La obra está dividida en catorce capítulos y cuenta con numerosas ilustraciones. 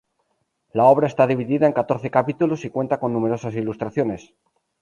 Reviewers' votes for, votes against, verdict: 2, 0, accepted